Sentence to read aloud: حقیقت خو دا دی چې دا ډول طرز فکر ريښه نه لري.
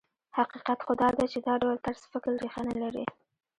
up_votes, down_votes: 0, 2